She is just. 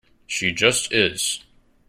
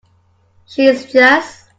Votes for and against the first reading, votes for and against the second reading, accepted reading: 0, 2, 2, 0, second